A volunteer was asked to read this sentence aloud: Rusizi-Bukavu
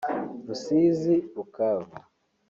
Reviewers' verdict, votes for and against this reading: accepted, 2, 1